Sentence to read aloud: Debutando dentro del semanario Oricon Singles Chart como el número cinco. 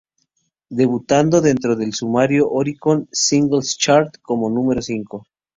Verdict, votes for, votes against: rejected, 2, 2